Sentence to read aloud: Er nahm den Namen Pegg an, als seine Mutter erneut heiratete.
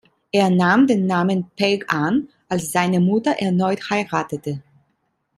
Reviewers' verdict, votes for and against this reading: accepted, 2, 0